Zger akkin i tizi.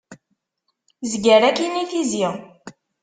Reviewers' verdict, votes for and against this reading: accepted, 2, 0